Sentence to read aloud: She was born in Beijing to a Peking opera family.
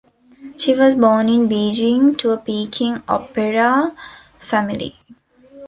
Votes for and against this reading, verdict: 2, 0, accepted